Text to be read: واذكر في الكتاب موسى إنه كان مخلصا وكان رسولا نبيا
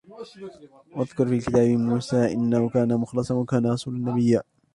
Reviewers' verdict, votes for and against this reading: rejected, 0, 2